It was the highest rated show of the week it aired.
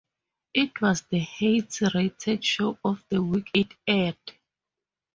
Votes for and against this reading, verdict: 0, 4, rejected